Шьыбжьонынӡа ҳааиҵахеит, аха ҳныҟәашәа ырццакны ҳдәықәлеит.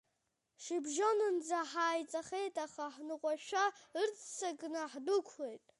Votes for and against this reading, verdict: 1, 2, rejected